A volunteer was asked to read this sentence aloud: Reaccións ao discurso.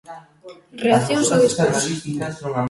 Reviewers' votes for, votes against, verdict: 2, 1, accepted